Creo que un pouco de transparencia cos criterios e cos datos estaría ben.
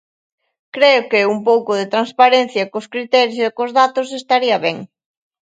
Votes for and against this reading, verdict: 2, 0, accepted